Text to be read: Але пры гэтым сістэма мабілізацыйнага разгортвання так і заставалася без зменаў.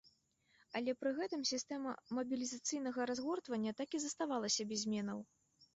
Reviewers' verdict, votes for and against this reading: accepted, 2, 0